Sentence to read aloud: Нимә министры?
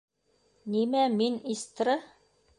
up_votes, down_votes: 0, 2